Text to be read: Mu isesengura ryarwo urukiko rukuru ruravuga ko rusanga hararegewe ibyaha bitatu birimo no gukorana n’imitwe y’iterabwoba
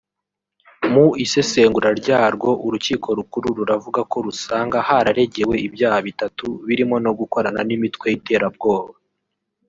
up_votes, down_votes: 1, 2